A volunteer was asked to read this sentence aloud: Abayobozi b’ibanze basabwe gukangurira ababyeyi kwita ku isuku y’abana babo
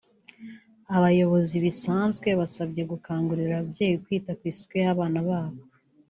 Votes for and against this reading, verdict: 1, 2, rejected